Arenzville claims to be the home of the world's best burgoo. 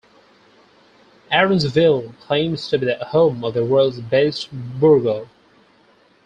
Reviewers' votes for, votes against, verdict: 0, 4, rejected